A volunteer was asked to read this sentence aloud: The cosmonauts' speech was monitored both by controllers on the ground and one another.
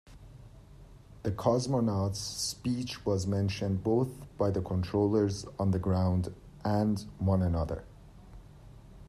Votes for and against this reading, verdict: 1, 2, rejected